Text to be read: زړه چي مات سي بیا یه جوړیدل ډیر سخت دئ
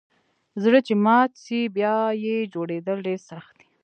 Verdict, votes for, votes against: accepted, 2, 0